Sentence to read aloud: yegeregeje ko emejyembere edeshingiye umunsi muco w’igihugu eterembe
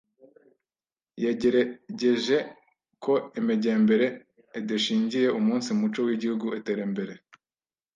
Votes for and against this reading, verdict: 1, 2, rejected